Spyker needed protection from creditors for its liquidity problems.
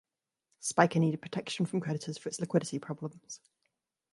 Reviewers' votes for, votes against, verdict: 1, 2, rejected